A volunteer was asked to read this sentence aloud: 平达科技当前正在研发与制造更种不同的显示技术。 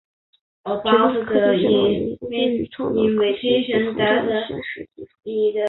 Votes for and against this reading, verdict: 1, 2, rejected